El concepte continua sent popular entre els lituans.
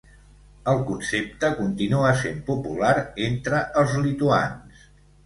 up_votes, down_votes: 2, 0